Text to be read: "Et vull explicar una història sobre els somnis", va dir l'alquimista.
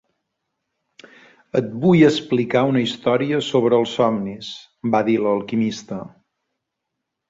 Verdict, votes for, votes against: accepted, 3, 0